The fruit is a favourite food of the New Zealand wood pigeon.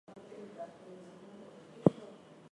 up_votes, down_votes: 0, 2